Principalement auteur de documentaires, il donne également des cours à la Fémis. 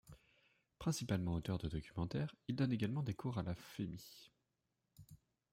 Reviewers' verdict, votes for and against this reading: rejected, 0, 2